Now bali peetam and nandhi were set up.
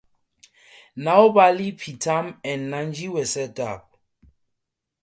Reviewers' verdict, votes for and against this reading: accepted, 4, 0